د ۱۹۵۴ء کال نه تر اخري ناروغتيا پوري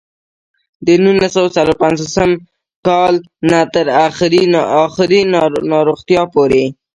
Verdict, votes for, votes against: rejected, 0, 2